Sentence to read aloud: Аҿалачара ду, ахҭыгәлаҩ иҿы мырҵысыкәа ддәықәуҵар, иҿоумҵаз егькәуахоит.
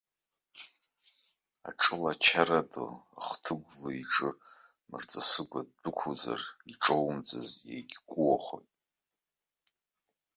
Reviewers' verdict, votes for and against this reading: rejected, 0, 2